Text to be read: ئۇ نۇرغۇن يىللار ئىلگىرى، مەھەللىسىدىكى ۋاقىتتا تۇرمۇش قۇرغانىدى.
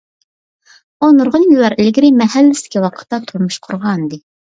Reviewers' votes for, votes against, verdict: 2, 1, accepted